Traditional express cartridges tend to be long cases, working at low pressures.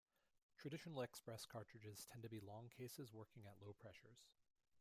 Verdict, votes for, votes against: accepted, 2, 1